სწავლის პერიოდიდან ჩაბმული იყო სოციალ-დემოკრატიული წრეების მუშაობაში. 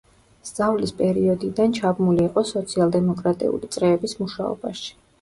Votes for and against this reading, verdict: 2, 0, accepted